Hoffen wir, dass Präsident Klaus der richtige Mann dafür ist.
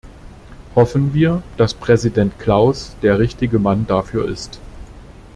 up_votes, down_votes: 2, 0